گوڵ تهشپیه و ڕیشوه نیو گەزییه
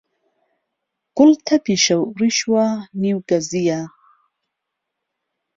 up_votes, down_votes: 0, 2